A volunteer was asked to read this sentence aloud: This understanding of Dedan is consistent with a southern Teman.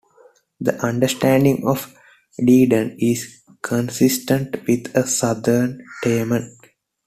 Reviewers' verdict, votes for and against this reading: accepted, 2, 0